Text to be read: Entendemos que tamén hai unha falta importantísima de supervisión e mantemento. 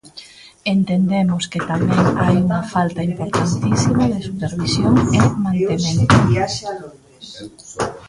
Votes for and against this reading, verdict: 0, 2, rejected